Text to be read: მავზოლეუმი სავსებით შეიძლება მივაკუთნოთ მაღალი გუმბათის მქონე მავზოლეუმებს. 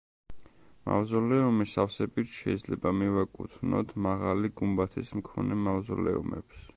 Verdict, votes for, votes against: accepted, 2, 1